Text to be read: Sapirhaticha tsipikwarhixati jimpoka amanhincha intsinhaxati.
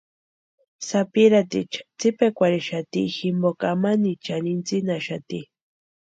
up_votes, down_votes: 0, 2